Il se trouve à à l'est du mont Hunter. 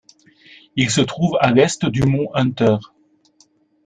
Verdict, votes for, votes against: rejected, 1, 2